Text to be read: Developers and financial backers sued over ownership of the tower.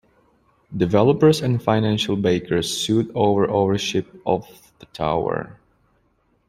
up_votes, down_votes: 0, 2